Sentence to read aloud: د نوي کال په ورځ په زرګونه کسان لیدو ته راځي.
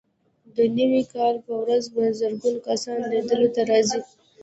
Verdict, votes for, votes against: rejected, 1, 2